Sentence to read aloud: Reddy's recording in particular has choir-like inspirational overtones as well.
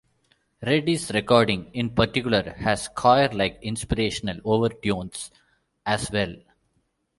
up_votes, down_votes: 2, 0